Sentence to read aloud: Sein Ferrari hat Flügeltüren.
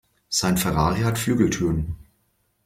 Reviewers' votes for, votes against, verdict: 2, 0, accepted